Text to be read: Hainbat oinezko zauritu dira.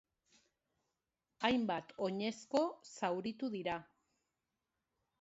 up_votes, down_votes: 1, 2